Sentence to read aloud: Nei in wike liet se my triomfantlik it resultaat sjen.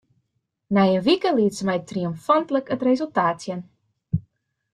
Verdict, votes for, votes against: rejected, 1, 2